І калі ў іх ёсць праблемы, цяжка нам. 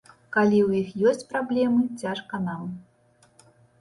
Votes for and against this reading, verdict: 1, 2, rejected